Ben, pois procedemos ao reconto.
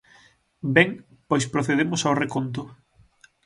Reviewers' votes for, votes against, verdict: 6, 0, accepted